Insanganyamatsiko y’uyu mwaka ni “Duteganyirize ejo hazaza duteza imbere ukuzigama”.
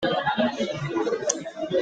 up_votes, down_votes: 0, 2